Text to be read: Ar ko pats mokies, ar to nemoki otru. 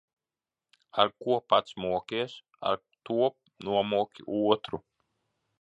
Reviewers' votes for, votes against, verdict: 0, 2, rejected